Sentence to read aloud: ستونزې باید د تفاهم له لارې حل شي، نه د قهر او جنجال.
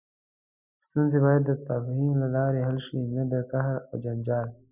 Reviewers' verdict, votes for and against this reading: accepted, 2, 0